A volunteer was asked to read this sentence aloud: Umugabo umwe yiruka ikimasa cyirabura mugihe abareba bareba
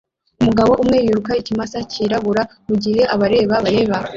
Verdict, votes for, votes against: rejected, 1, 2